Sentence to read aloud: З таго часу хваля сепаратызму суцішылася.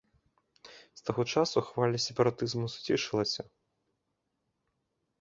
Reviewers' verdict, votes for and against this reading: accepted, 2, 1